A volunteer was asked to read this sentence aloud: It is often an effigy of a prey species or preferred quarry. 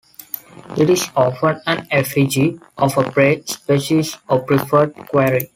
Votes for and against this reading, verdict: 2, 1, accepted